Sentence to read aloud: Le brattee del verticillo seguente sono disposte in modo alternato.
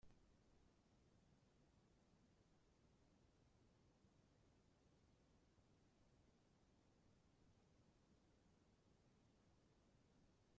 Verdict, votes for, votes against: rejected, 0, 2